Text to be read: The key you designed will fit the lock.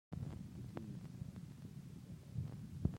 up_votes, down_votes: 0, 2